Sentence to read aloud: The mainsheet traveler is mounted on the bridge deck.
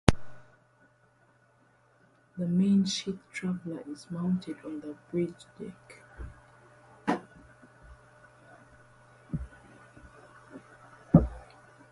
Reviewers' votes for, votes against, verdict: 0, 2, rejected